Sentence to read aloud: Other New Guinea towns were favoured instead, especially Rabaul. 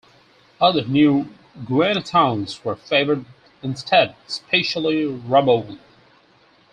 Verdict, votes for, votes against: rejected, 0, 4